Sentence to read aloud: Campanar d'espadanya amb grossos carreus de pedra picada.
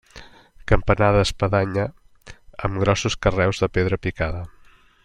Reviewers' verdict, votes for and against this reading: accepted, 2, 0